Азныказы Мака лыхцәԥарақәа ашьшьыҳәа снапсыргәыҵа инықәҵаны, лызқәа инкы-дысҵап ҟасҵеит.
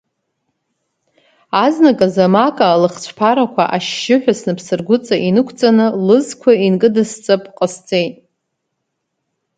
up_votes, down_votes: 2, 0